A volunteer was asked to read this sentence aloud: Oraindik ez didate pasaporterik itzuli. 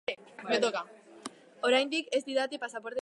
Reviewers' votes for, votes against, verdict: 1, 3, rejected